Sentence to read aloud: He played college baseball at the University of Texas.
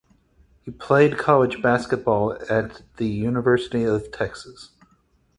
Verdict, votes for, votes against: rejected, 0, 4